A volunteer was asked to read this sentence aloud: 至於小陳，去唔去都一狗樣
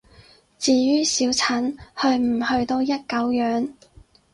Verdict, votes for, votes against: rejected, 2, 2